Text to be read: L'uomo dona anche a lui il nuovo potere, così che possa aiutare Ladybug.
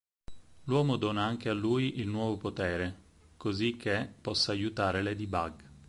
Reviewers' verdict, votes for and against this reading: accepted, 6, 0